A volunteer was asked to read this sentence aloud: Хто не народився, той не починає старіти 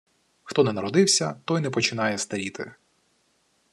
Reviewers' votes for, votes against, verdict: 2, 0, accepted